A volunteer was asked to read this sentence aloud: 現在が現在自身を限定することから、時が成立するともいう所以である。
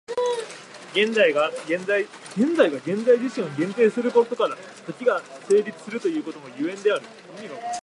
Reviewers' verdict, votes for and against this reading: rejected, 0, 2